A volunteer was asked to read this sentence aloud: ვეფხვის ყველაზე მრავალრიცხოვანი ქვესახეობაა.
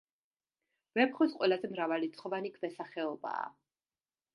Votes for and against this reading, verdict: 2, 0, accepted